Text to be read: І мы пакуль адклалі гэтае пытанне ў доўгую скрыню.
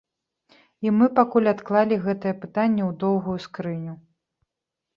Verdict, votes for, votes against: accepted, 2, 0